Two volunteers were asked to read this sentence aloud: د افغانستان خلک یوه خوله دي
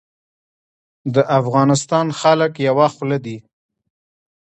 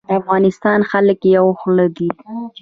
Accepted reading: first